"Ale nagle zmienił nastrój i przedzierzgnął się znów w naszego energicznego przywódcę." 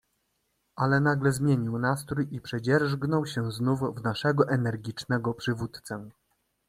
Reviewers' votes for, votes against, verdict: 2, 0, accepted